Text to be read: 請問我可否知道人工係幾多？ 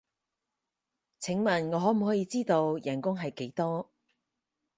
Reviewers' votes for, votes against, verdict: 0, 4, rejected